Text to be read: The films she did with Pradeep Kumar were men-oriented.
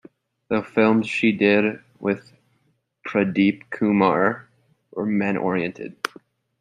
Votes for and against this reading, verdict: 2, 0, accepted